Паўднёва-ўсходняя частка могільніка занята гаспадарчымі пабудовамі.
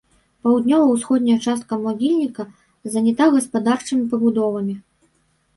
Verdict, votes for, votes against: rejected, 0, 2